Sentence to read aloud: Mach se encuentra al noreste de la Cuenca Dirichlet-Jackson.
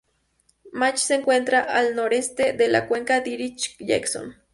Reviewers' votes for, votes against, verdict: 0, 2, rejected